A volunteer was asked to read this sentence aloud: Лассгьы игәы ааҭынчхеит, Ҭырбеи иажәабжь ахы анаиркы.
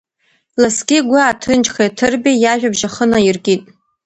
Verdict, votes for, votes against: rejected, 0, 2